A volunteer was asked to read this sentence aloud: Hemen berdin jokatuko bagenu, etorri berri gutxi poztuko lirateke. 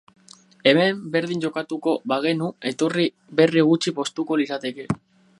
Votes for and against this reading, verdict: 6, 0, accepted